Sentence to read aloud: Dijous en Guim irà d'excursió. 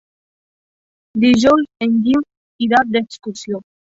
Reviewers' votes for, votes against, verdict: 1, 2, rejected